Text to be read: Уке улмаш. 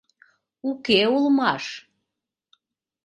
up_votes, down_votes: 2, 0